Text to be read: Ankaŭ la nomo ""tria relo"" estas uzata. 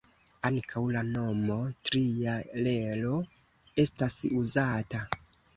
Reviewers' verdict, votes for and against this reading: accepted, 2, 1